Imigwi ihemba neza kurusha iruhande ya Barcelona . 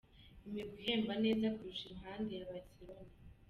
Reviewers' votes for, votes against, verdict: 3, 1, accepted